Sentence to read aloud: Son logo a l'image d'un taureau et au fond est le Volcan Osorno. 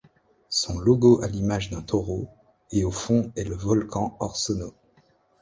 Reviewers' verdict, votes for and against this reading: rejected, 0, 2